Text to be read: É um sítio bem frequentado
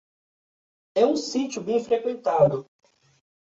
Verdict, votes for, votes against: accepted, 2, 0